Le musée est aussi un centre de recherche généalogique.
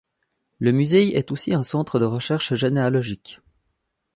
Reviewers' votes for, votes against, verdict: 3, 0, accepted